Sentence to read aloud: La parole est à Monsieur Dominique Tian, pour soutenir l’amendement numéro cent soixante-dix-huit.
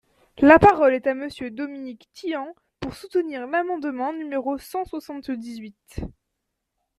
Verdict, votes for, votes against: accepted, 2, 0